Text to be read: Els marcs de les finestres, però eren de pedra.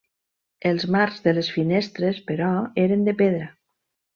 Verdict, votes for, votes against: accepted, 3, 0